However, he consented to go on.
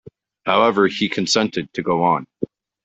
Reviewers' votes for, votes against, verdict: 2, 1, accepted